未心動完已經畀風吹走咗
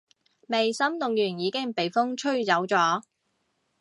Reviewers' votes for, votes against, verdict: 2, 0, accepted